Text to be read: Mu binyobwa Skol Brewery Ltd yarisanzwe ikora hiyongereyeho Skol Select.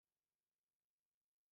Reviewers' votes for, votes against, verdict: 0, 2, rejected